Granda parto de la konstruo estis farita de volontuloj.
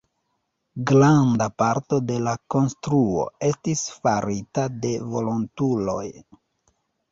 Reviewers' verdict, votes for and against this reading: rejected, 1, 2